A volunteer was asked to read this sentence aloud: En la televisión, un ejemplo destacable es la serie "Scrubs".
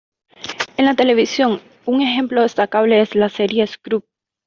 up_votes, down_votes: 1, 2